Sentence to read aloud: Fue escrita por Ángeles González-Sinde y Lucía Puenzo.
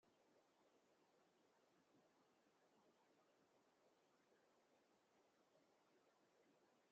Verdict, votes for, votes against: rejected, 0, 2